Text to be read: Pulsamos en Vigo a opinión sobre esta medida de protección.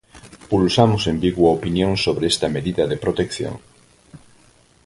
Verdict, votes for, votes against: accepted, 4, 0